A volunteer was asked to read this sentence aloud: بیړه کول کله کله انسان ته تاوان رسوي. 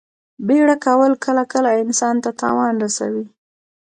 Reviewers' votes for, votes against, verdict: 1, 2, rejected